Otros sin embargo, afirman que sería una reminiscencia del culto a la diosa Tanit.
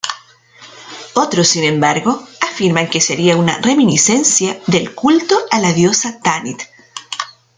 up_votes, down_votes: 2, 0